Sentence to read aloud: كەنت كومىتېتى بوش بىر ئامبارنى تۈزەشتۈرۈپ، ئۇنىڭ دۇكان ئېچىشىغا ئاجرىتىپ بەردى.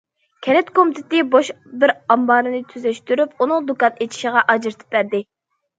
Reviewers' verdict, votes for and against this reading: accepted, 2, 0